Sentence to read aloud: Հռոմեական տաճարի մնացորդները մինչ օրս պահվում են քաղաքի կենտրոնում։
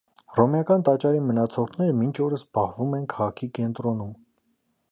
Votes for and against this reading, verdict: 2, 0, accepted